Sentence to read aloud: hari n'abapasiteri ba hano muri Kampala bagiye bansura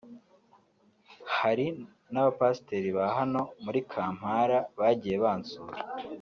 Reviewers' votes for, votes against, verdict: 2, 0, accepted